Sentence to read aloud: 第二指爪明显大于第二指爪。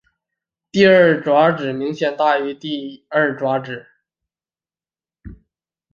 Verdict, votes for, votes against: accepted, 3, 2